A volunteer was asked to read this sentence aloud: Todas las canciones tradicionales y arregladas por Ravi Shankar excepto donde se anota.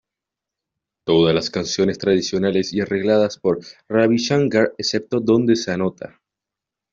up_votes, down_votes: 2, 0